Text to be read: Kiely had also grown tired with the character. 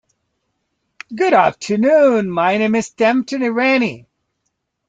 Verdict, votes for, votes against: rejected, 0, 2